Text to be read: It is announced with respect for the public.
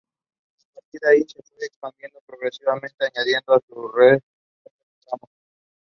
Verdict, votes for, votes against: rejected, 0, 2